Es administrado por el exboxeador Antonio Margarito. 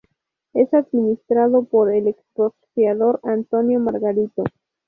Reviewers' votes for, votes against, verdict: 0, 2, rejected